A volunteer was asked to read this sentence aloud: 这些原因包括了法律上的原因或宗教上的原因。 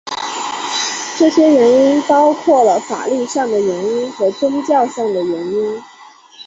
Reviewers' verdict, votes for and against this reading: rejected, 1, 2